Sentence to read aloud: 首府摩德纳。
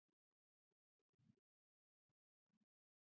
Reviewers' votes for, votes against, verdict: 0, 2, rejected